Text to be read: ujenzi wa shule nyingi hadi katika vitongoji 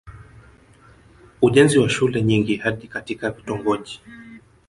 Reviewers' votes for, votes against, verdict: 0, 2, rejected